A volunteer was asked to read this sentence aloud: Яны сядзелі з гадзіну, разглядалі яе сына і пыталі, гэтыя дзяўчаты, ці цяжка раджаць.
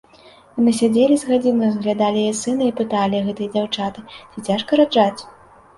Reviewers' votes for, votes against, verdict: 3, 0, accepted